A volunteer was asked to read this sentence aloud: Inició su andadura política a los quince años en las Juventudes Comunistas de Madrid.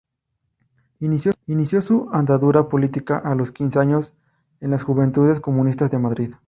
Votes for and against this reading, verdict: 0, 2, rejected